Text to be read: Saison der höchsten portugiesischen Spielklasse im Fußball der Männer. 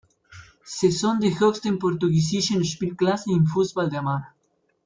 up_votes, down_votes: 0, 2